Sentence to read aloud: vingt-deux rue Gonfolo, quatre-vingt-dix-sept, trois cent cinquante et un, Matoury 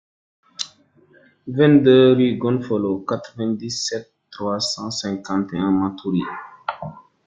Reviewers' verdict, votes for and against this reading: rejected, 1, 2